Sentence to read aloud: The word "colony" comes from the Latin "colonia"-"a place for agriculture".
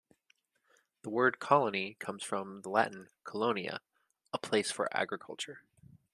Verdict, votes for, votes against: accepted, 2, 0